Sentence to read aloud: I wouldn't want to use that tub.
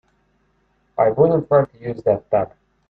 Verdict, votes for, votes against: rejected, 1, 2